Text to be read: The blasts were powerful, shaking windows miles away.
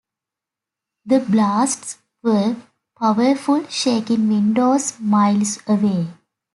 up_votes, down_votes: 2, 0